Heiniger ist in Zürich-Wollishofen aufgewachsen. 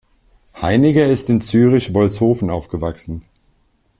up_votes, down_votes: 1, 2